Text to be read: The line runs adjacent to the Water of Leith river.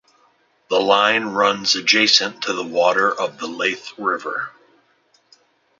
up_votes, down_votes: 2, 0